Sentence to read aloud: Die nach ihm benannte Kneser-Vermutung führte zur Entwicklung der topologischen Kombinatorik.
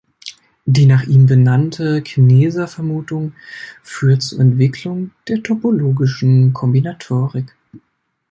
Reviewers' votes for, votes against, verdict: 0, 2, rejected